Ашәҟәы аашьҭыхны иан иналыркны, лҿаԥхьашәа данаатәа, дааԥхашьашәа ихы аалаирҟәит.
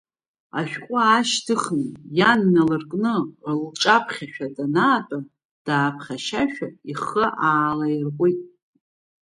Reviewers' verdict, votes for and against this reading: rejected, 0, 2